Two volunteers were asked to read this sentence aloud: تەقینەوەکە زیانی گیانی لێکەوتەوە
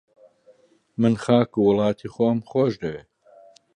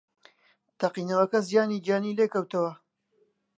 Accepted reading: second